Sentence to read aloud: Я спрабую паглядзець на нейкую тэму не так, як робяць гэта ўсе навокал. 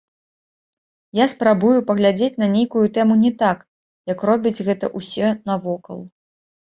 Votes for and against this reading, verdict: 2, 0, accepted